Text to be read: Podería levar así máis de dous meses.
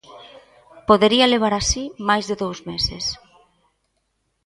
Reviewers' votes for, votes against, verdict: 2, 0, accepted